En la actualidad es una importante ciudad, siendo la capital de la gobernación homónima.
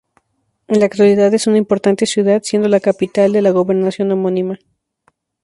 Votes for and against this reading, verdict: 2, 0, accepted